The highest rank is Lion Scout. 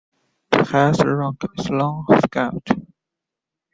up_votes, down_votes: 0, 2